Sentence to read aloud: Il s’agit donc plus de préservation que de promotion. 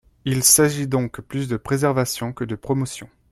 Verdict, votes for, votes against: accepted, 2, 0